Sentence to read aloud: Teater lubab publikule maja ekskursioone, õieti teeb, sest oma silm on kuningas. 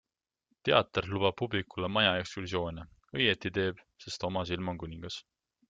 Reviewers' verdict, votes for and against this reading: accepted, 2, 0